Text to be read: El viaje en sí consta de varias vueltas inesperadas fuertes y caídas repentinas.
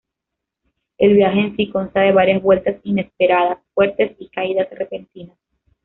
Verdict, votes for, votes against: accepted, 2, 0